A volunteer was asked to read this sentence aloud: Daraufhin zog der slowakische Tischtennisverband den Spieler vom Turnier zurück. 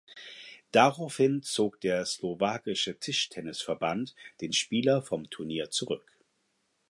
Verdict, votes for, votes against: accepted, 4, 0